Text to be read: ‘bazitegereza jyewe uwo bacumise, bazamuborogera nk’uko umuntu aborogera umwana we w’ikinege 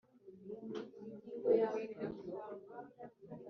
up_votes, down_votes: 0, 3